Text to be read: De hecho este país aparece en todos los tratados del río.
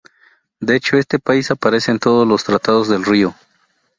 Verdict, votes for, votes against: rejected, 0, 2